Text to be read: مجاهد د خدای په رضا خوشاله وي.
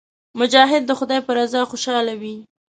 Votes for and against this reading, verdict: 2, 0, accepted